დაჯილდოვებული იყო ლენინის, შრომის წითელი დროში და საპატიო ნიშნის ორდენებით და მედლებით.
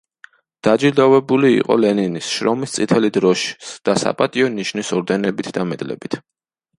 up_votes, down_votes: 1, 2